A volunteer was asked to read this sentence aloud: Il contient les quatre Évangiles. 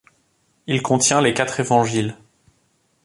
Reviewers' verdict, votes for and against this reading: accepted, 2, 1